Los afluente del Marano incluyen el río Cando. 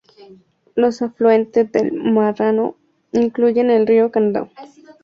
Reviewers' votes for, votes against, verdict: 0, 2, rejected